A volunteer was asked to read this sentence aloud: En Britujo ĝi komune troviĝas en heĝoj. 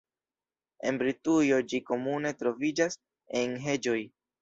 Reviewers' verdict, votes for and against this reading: accepted, 2, 0